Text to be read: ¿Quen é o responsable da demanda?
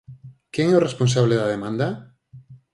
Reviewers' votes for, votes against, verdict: 4, 0, accepted